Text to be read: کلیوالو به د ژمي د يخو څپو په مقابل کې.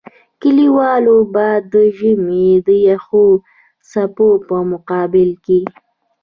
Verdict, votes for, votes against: accepted, 2, 0